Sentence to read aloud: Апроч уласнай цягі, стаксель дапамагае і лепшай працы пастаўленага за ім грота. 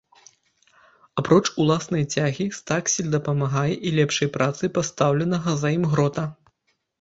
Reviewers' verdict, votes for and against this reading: accepted, 2, 0